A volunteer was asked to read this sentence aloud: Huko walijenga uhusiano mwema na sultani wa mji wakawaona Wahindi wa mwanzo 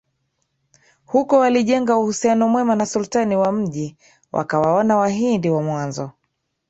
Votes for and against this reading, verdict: 2, 1, accepted